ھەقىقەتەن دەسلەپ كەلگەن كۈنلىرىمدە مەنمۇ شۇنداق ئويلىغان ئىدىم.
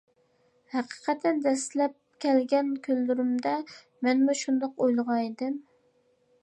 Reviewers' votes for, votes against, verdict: 2, 0, accepted